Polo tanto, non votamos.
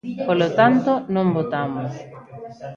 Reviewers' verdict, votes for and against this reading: rejected, 0, 2